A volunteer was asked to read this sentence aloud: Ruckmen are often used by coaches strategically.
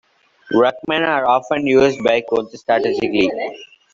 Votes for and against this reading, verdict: 0, 2, rejected